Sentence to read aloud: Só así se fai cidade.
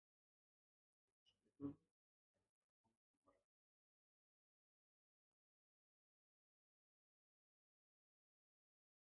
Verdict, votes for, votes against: rejected, 0, 2